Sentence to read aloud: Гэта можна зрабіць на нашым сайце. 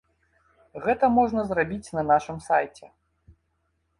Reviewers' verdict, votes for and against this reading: accepted, 2, 0